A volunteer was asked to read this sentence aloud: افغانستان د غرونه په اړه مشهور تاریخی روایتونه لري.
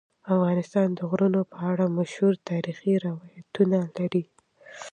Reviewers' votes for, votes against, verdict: 1, 2, rejected